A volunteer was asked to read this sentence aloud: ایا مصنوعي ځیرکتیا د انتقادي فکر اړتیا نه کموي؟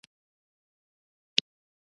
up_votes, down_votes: 1, 2